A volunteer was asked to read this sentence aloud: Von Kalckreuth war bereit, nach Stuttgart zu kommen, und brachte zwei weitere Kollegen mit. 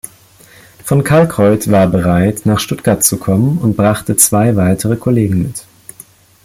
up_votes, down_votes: 3, 1